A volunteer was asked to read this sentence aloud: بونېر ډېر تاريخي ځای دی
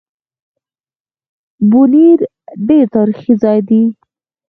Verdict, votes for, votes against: accepted, 4, 0